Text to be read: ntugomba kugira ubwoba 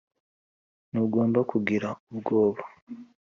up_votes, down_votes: 3, 0